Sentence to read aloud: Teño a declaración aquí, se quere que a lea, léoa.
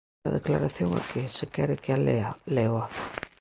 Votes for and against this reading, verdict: 1, 2, rejected